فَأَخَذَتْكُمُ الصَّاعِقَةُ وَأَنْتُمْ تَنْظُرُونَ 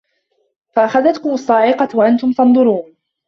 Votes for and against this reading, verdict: 2, 1, accepted